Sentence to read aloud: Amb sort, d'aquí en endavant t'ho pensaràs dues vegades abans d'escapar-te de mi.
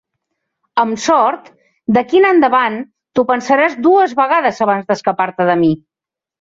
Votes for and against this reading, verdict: 2, 0, accepted